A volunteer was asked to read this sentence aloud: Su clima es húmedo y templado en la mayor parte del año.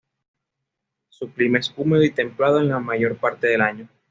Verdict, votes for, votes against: accepted, 2, 0